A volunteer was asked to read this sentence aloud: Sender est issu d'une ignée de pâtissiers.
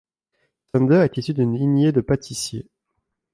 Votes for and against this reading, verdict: 0, 2, rejected